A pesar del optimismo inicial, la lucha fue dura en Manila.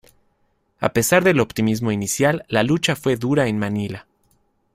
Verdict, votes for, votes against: accepted, 2, 0